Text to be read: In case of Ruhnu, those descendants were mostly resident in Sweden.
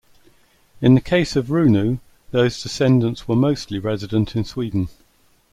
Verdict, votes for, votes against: rejected, 0, 2